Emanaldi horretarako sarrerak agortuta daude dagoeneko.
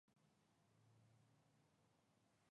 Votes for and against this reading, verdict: 0, 3, rejected